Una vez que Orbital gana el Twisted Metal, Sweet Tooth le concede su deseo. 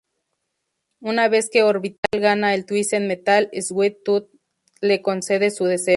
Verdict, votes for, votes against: rejected, 0, 2